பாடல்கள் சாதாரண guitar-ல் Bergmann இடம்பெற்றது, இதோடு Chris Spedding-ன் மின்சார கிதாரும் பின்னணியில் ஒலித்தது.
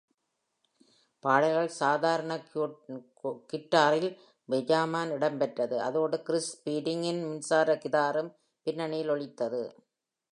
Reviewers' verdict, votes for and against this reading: rejected, 0, 2